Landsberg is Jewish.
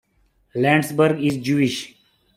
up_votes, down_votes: 2, 0